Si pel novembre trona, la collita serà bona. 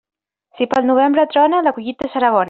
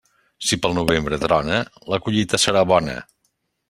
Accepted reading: second